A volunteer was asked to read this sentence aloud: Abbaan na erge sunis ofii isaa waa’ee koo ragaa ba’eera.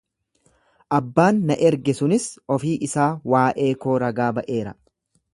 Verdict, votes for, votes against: accepted, 2, 0